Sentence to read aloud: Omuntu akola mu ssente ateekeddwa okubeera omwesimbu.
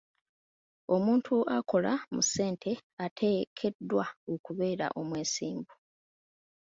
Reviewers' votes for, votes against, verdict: 2, 1, accepted